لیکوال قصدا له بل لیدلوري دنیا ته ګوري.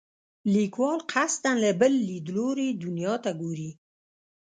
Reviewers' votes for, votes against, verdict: 2, 0, accepted